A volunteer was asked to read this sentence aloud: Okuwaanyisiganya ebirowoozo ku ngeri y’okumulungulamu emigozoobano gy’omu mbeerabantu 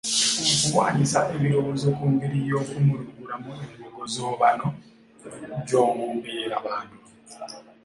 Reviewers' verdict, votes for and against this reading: accepted, 2, 0